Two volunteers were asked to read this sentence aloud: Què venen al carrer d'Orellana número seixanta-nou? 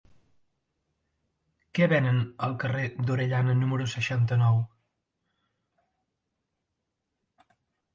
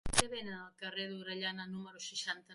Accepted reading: first